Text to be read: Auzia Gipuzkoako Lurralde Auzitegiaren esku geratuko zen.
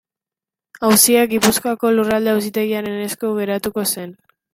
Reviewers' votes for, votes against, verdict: 2, 1, accepted